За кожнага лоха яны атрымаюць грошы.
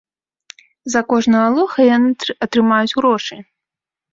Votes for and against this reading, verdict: 1, 2, rejected